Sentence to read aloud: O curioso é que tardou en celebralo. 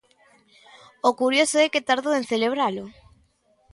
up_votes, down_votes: 2, 0